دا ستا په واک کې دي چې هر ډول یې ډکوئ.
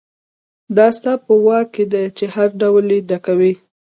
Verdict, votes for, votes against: accepted, 2, 0